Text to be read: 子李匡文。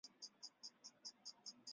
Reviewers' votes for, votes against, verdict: 0, 2, rejected